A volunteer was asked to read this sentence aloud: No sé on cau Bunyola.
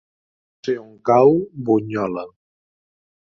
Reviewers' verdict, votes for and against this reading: rejected, 1, 2